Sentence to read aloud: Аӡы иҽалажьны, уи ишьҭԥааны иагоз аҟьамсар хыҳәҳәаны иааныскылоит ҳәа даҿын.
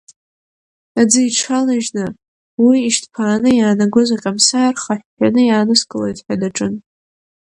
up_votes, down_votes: 7, 11